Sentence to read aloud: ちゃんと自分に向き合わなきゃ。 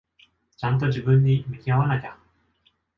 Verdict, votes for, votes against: accepted, 2, 0